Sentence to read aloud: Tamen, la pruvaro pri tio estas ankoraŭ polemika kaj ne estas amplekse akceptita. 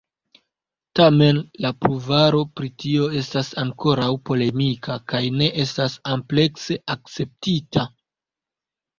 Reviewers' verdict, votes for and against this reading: rejected, 1, 2